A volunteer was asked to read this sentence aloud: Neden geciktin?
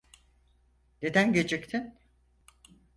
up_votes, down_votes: 4, 0